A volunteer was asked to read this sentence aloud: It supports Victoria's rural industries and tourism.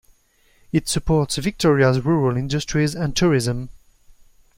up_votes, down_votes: 2, 0